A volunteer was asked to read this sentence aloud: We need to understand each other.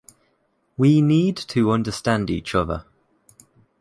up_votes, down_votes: 2, 0